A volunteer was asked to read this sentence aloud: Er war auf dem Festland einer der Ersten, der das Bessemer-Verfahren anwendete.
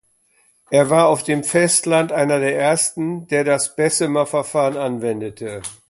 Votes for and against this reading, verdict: 2, 0, accepted